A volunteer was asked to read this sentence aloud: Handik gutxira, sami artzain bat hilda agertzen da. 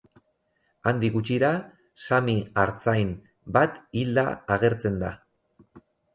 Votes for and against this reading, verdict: 4, 0, accepted